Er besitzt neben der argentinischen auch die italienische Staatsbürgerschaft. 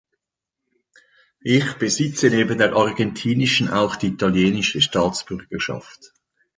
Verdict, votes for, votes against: rejected, 0, 2